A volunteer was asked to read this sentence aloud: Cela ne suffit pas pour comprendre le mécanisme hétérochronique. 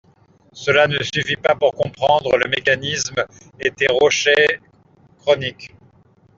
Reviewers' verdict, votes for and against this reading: rejected, 0, 2